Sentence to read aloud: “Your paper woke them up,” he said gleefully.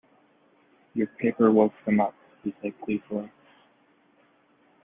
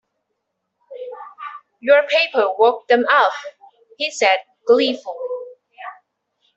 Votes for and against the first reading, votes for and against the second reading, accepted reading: 2, 1, 1, 2, first